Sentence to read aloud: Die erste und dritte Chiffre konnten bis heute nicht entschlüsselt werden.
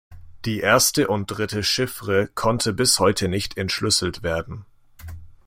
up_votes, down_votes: 1, 2